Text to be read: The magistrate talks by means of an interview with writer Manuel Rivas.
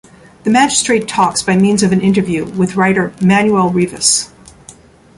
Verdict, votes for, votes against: accepted, 2, 0